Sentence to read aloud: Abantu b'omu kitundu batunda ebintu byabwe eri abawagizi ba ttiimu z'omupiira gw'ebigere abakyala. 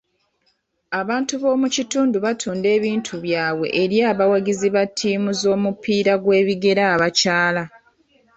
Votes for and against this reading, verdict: 0, 2, rejected